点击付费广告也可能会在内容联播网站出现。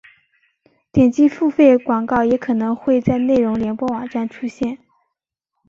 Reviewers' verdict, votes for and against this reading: accepted, 2, 0